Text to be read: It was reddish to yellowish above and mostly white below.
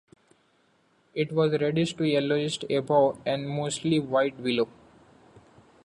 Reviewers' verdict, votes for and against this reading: accepted, 2, 1